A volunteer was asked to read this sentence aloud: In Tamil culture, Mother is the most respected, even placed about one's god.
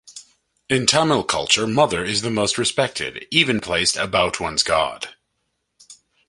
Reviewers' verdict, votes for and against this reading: accepted, 2, 0